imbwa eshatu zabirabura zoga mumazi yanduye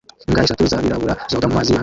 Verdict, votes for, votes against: rejected, 0, 2